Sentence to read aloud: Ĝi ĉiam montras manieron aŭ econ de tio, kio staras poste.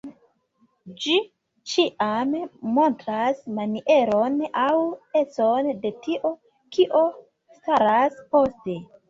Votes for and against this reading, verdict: 1, 2, rejected